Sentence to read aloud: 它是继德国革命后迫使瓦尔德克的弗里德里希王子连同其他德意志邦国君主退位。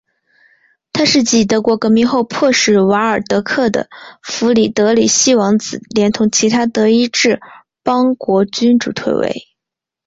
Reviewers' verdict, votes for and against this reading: accepted, 2, 0